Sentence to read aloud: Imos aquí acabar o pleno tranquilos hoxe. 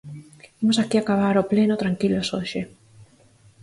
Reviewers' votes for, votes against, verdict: 4, 0, accepted